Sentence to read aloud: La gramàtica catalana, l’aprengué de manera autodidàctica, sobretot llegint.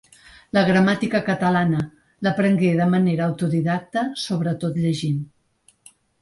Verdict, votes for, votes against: rejected, 1, 3